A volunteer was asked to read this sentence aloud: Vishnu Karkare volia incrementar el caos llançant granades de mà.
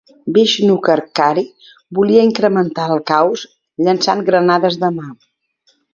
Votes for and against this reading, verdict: 2, 0, accepted